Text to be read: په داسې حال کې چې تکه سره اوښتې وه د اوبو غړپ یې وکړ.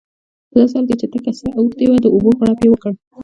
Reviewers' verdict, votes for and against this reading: accepted, 2, 0